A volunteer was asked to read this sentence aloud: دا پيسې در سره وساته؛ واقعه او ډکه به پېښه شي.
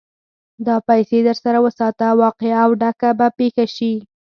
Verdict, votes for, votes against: rejected, 2, 4